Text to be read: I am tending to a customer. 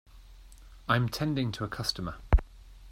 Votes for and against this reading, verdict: 2, 0, accepted